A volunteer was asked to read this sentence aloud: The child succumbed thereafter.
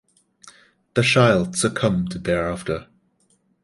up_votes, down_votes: 0, 2